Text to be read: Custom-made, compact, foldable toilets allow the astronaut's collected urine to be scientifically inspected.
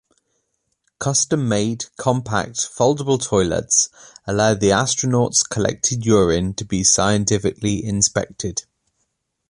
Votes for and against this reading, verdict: 2, 0, accepted